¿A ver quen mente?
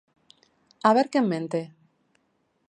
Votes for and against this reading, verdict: 2, 0, accepted